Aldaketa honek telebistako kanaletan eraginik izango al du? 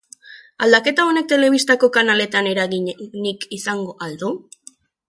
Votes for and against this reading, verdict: 1, 2, rejected